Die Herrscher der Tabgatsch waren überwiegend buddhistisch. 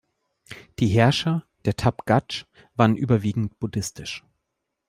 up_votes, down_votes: 2, 0